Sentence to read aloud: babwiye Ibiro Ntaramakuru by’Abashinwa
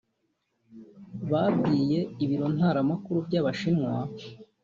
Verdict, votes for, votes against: accepted, 2, 0